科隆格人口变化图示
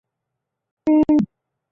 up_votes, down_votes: 0, 2